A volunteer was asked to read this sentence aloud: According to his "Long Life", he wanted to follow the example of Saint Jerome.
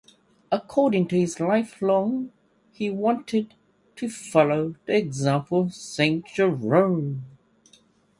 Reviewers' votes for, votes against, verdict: 1, 2, rejected